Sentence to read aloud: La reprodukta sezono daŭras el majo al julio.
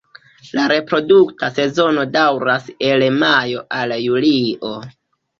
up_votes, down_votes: 2, 1